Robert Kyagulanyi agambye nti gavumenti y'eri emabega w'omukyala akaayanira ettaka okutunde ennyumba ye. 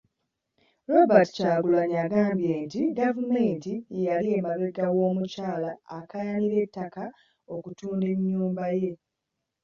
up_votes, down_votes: 1, 2